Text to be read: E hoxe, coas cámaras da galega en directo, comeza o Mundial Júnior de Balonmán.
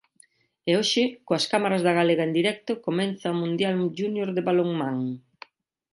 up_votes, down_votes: 1, 2